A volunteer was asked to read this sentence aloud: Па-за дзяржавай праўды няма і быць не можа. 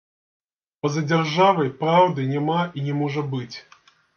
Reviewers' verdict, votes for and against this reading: rejected, 0, 2